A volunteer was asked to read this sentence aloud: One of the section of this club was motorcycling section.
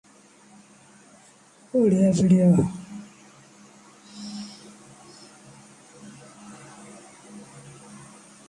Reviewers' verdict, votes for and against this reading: rejected, 0, 2